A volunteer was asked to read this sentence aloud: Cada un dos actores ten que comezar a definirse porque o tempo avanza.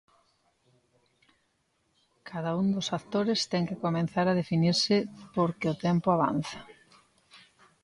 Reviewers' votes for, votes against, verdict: 0, 2, rejected